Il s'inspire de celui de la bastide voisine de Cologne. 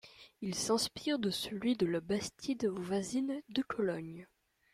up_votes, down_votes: 1, 2